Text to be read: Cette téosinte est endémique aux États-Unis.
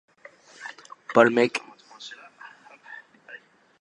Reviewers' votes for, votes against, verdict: 0, 2, rejected